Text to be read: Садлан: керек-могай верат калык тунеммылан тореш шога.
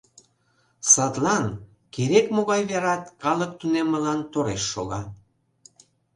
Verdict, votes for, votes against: accepted, 2, 0